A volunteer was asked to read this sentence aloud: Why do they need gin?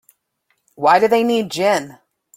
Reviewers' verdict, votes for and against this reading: accepted, 2, 0